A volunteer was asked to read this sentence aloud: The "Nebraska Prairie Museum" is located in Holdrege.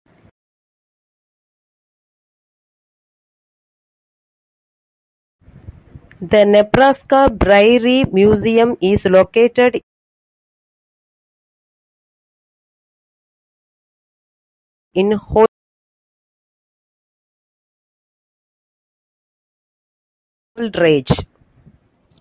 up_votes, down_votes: 0, 2